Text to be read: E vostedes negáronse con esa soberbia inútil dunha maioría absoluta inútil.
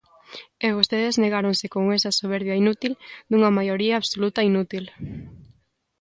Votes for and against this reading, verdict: 2, 0, accepted